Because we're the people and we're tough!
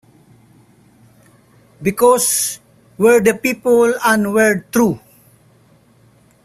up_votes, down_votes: 0, 2